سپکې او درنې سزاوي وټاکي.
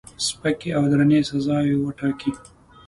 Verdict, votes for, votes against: accepted, 2, 0